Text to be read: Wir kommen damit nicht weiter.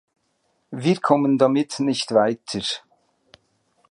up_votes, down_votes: 2, 1